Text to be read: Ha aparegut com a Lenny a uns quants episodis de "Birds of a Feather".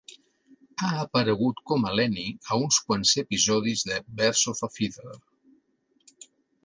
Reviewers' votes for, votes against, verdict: 2, 0, accepted